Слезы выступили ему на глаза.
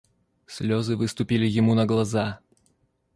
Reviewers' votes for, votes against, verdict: 2, 0, accepted